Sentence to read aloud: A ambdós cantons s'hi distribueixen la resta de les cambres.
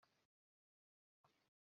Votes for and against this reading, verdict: 0, 2, rejected